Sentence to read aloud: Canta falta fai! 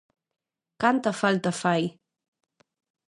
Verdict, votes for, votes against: accepted, 2, 0